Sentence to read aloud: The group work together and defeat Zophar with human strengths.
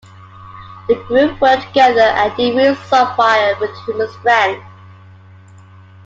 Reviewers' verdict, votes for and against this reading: rejected, 0, 2